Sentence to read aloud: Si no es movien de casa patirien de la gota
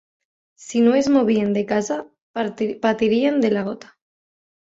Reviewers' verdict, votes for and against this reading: rejected, 0, 2